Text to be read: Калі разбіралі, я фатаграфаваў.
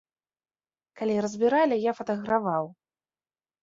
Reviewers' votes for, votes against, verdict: 2, 3, rejected